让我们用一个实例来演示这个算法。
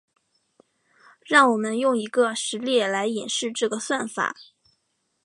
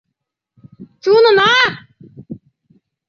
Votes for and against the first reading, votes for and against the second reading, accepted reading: 2, 0, 0, 2, first